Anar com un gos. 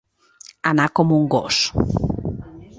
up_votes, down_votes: 2, 0